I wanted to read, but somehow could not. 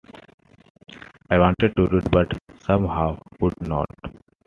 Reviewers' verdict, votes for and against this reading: accepted, 2, 0